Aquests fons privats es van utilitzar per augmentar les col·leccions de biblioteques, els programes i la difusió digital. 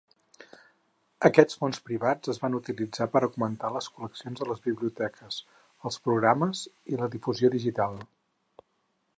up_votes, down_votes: 2, 4